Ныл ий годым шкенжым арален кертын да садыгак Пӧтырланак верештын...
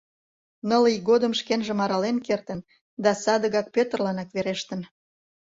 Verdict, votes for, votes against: accepted, 2, 0